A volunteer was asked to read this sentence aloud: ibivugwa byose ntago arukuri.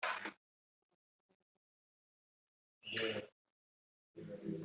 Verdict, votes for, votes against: rejected, 0, 2